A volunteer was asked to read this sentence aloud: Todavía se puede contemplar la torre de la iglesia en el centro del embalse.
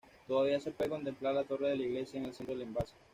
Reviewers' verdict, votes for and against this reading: accepted, 2, 0